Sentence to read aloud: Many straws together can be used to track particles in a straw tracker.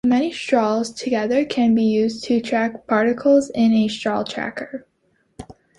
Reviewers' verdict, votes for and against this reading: accepted, 2, 0